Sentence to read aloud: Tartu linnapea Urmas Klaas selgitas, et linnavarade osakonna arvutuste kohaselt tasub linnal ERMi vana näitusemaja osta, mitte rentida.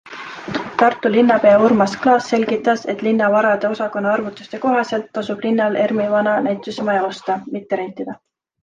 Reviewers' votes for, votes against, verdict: 2, 0, accepted